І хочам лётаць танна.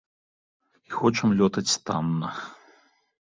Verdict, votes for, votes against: accepted, 2, 0